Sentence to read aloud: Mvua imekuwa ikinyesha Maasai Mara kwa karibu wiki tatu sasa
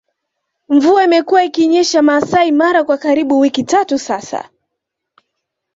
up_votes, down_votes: 2, 0